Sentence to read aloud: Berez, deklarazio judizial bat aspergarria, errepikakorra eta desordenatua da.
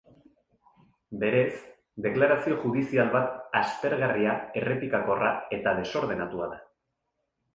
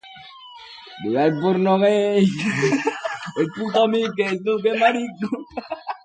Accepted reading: first